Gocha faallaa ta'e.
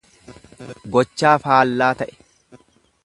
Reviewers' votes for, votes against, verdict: 1, 2, rejected